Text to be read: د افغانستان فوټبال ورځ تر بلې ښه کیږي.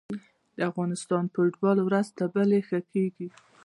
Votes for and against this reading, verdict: 0, 2, rejected